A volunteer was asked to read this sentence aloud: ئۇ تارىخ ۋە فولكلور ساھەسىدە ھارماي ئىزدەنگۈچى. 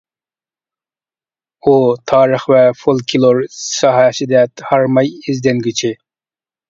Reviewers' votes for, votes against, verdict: 2, 1, accepted